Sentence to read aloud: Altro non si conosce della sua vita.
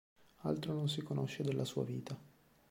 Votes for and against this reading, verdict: 2, 0, accepted